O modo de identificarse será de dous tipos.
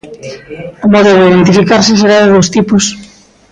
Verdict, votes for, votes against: accepted, 2, 1